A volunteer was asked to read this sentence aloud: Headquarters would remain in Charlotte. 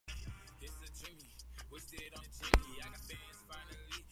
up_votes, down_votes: 0, 2